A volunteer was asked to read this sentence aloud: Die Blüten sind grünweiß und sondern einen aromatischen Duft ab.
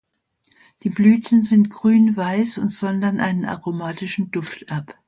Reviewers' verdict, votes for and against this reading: accepted, 2, 0